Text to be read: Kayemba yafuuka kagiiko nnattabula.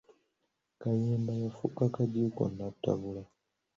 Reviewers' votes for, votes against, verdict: 2, 0, accepted